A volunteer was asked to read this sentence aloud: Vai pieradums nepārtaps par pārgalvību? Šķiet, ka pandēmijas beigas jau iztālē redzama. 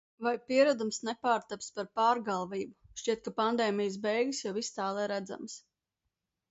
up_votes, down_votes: 0, 2